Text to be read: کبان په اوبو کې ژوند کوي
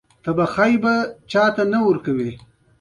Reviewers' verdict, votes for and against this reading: rejected, 0, 2